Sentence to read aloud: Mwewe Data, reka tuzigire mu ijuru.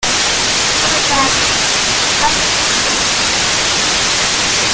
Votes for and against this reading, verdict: 0, 2, rejected